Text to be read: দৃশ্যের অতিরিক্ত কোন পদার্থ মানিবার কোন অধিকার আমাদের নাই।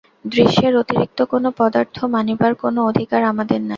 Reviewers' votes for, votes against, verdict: 2, 2, rejected